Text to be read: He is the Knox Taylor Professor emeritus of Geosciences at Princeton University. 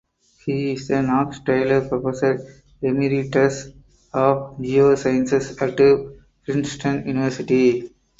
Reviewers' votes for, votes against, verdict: 4, 2, accepted